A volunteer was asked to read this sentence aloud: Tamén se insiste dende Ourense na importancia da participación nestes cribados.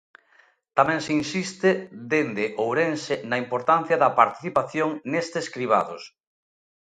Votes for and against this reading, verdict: 2, 0, accepted